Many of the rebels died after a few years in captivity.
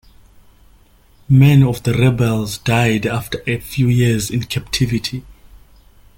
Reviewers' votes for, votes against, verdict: 2, 0, accepted